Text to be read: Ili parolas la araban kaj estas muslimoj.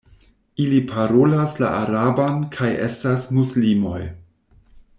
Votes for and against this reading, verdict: 2, 0, accepted